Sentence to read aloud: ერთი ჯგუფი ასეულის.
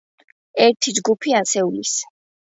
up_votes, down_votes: 2, 0